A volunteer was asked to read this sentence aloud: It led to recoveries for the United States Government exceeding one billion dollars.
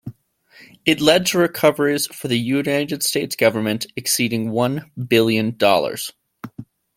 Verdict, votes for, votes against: accepted, 2, 1